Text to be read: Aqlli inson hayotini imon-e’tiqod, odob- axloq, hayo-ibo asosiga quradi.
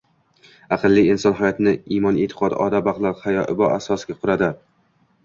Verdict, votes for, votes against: accepted, 2, 0